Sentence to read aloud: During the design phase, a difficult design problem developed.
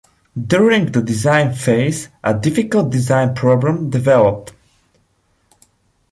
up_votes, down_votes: 2, 0